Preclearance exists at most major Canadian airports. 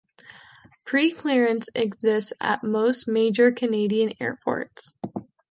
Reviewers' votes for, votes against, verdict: 2, 0, accepted